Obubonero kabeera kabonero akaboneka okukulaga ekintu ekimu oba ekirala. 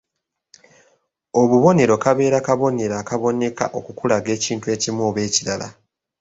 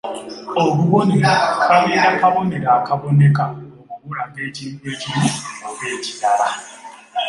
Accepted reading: first